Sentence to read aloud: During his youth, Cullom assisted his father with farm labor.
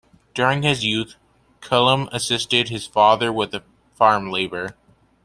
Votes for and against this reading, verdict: 0, 2, rejected